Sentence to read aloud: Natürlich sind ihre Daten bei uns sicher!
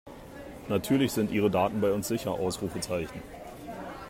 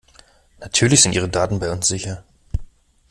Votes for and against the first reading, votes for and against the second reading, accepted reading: 1, 2, 2, 0, second